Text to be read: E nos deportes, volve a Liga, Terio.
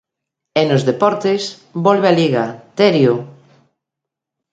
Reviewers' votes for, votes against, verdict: 2, 0, accepted